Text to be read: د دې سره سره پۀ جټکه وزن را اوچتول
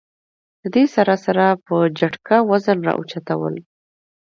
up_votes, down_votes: 2, 0